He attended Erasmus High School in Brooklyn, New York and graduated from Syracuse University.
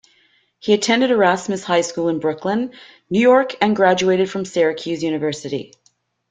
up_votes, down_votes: 2, 0